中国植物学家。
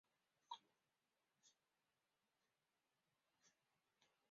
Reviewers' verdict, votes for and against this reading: accepted, 5, 3